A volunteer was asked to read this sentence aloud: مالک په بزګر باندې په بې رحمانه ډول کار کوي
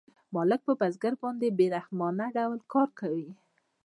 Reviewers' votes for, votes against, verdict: 2, 0, accepted